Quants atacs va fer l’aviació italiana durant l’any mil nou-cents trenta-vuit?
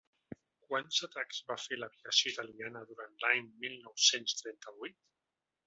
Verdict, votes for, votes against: rejected, 1, 2